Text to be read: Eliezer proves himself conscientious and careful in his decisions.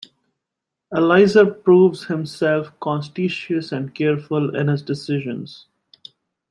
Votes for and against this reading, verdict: 0, 2, rejected